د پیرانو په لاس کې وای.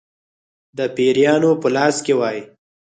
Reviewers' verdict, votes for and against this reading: accepted, 4, 0